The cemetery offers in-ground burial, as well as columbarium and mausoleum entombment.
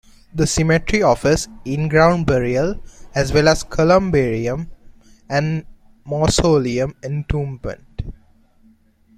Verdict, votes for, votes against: rejected, 1, 2